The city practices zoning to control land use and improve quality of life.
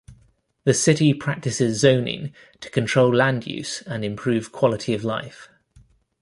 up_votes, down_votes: 2, 0